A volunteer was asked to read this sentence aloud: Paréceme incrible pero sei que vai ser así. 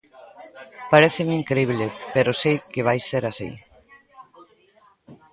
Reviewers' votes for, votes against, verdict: 1, 2, rejected